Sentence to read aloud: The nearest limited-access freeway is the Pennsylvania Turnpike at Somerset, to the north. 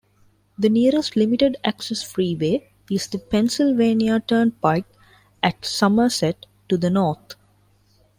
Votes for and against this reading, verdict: 2, 0, accepted